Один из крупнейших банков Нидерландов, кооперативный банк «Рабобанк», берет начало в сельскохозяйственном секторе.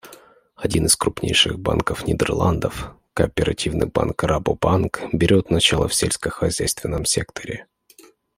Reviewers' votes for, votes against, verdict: 2, 0, accepted